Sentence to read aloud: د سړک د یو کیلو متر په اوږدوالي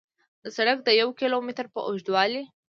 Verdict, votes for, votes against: accepted, 2, 0